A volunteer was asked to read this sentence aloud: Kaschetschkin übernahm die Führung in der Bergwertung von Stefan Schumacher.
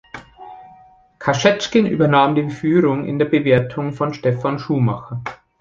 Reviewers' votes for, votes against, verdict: 1, 2, rejected